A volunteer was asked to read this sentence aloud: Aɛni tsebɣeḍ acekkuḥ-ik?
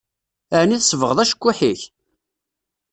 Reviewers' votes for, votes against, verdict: 2, 0, accepted